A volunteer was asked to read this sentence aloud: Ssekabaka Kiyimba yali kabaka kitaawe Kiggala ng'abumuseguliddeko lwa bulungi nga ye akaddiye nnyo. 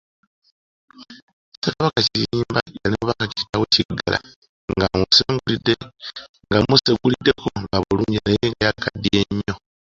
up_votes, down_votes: 1, 2